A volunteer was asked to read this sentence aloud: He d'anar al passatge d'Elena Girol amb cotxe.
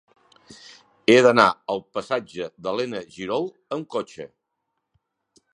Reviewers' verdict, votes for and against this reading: accepted, 2, 1